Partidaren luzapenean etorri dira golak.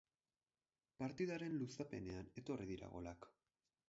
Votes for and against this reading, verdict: 4, 0, accepted